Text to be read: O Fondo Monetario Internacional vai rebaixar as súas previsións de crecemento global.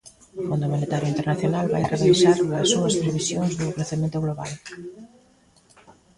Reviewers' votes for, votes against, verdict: 1, 2, rejected